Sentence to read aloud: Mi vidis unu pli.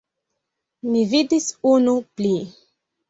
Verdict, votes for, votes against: accepted, 2, 1